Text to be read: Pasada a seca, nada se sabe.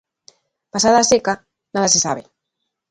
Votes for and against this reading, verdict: 2, 0, accepted